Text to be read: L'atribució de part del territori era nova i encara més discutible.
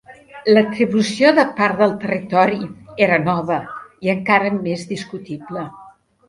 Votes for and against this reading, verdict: 3, 0, accepted